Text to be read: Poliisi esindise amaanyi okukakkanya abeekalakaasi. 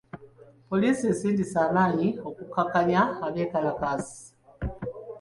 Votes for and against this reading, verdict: 2, 0, accepted